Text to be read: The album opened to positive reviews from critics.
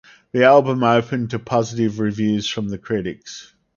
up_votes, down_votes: 0, 2